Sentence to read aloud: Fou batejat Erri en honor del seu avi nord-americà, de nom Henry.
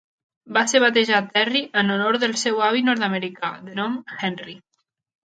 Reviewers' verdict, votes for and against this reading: rejected, 1, 3